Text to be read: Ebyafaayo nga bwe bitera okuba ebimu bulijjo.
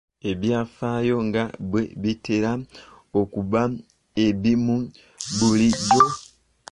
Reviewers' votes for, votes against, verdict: 0, 2, rejected